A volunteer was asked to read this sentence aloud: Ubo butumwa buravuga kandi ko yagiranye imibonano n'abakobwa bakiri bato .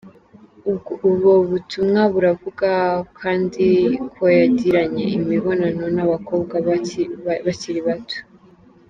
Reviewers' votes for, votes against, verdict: 0, 2, rejected